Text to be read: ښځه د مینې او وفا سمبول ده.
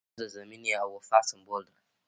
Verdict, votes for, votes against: rejected, 0, 2